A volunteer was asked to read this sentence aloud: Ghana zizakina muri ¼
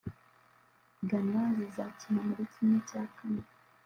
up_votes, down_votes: 1, 2